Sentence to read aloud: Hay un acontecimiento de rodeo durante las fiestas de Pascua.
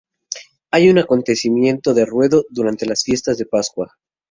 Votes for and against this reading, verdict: 0, 2, rejected